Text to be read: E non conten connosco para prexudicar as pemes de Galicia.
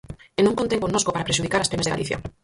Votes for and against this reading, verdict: 0, 4, rejected